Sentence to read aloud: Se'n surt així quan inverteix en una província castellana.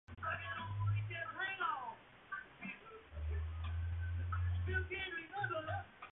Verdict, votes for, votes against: rejected, 0, 2